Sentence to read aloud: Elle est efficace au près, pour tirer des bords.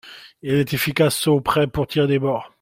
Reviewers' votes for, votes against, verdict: 2, 0, accepted